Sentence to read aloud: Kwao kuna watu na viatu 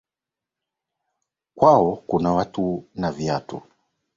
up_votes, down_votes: 5, 0